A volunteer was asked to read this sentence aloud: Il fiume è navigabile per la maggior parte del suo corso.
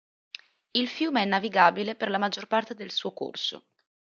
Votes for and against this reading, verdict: 2, 0, accepted